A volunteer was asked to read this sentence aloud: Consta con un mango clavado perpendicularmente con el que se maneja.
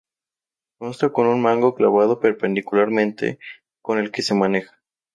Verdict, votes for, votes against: rejected, 2, 2